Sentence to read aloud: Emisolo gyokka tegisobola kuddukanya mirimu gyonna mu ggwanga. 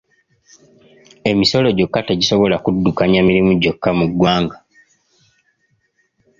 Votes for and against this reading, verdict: 1, 2, rejected